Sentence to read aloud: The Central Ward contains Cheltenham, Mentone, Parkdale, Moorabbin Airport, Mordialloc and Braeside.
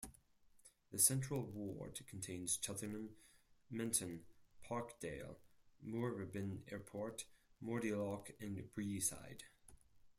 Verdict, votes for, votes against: rejected, 0, 4